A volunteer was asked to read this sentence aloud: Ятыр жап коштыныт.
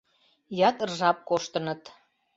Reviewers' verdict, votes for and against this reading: accepted, 2, 0